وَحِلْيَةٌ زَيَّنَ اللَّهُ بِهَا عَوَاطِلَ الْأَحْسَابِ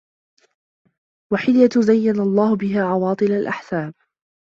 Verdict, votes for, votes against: accepted, 2, 1